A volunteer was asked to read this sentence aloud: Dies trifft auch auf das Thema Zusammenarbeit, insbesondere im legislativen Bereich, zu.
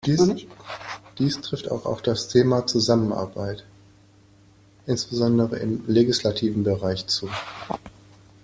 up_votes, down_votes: 1, 2